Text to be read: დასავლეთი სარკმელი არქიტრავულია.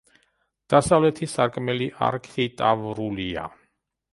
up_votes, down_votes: 0, 2